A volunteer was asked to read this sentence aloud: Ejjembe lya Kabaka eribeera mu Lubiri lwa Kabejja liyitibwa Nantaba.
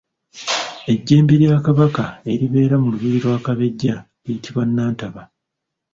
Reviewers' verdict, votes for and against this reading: rejected, 0, 2